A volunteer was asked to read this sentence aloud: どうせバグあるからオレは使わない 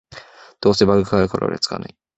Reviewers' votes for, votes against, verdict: 0, 2, rejected